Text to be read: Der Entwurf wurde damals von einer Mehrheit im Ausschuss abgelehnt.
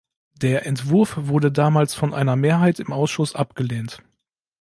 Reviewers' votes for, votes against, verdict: 2, 0, accepted